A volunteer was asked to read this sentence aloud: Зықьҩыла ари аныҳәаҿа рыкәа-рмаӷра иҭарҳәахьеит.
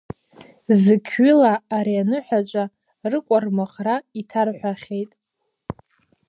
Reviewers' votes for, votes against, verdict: 0, 2, rejected